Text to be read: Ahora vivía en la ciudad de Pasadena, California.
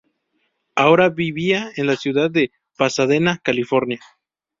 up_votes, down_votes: 2, 0